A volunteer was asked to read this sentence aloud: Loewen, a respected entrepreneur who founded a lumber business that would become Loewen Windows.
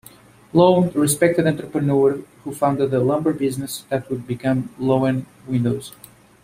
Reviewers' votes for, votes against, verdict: 2, 0, accepted